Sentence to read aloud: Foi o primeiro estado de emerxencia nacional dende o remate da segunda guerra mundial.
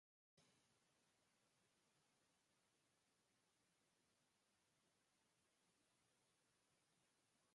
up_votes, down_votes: 0, 4